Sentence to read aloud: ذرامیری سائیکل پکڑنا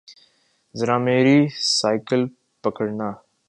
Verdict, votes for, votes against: accepted, 2, 0